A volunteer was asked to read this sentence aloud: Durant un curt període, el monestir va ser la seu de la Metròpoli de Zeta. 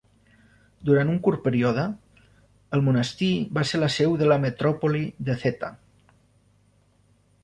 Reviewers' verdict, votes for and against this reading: rejected, 0, 2